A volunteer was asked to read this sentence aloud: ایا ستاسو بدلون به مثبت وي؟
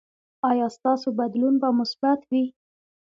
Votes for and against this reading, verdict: 2, 1, accepted